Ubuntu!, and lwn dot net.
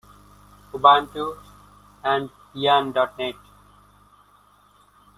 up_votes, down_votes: 1, 2